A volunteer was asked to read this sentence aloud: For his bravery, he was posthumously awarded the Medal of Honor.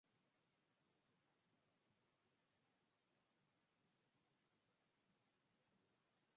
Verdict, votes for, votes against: rejected, 0, 2